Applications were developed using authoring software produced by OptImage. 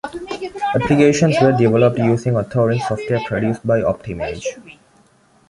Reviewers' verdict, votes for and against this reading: rejected, 0, 2